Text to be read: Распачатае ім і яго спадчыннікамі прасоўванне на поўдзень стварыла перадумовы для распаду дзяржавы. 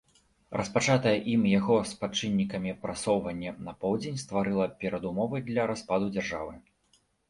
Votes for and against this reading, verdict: 1, 2, rejected